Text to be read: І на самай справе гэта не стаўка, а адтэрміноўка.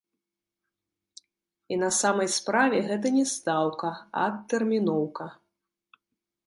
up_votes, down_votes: 1, 3